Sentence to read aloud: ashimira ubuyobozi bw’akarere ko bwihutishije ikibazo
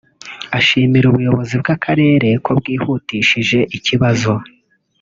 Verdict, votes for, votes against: accepted, 2, 0